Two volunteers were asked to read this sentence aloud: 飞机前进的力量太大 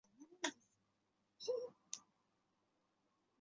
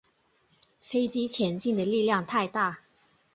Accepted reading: second